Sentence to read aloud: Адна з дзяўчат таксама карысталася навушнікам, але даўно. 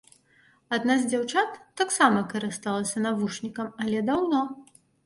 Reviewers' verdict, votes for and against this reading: accepted, 2, 0